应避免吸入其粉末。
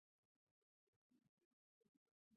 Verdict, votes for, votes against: rejected, 0, 2